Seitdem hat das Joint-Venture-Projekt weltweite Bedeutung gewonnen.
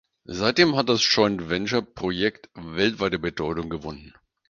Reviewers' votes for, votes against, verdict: 4, 2, accepted